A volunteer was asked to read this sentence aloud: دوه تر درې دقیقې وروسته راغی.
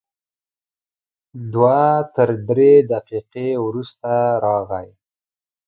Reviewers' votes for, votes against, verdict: 2, 0, accepted